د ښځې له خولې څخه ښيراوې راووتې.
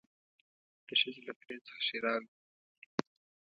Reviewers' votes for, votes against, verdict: 1, 2, rejected